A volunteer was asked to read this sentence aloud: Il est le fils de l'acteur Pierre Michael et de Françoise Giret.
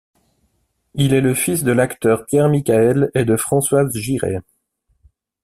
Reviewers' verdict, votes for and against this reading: rejected, 1, 2